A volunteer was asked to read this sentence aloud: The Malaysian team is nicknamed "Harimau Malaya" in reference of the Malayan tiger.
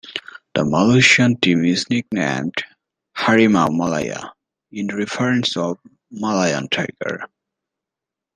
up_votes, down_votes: 1, 2